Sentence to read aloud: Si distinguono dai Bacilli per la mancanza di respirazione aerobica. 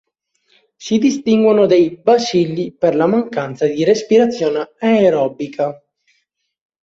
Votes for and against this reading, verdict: 1, 2, rejected